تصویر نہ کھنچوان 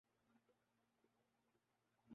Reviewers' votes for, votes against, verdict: 0, 4, rejected